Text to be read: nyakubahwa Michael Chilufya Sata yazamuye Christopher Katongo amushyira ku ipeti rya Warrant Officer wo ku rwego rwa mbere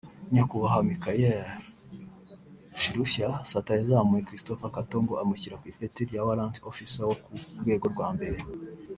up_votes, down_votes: 1, 2